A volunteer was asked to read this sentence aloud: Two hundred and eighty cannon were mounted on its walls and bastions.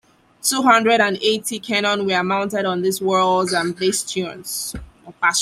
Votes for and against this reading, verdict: 0, 2, rejected